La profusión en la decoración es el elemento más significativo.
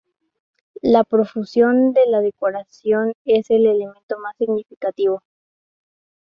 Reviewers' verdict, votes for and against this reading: rejected, 0, 2